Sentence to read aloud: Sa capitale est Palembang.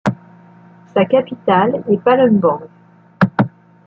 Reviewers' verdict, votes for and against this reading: rejected, 1, 2